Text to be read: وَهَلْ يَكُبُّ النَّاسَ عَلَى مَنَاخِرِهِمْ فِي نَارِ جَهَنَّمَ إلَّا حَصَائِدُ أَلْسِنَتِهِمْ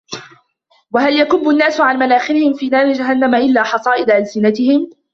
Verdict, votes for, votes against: rejected, 1, 2